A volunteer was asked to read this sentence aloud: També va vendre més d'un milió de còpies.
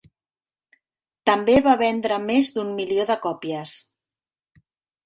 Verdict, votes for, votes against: accepted, 3, 0